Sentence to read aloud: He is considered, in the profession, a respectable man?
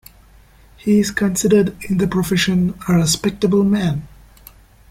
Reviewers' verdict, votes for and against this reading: accepted, 2, 1